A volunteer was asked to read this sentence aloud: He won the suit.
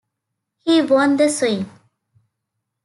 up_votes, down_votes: 1, 2